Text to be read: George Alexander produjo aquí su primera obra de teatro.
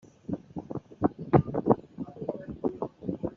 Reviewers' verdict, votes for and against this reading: rejected, 1, 2